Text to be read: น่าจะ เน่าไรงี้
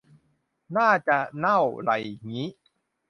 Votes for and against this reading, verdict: 2, 0, accepted